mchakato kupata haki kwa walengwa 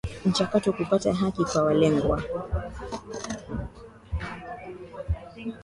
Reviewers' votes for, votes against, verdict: 10, 2, accepted